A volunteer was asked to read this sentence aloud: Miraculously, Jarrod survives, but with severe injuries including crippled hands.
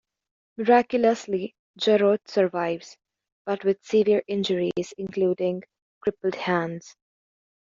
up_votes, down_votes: 2, 0